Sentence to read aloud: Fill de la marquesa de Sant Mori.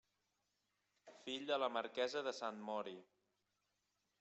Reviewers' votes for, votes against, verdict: 3, 0, accepted